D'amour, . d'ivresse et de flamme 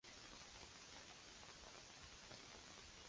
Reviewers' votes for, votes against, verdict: 0, 2, rejected